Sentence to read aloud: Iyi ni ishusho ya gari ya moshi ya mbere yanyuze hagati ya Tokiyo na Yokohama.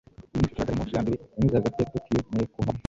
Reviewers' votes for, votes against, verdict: 1, 2, rejected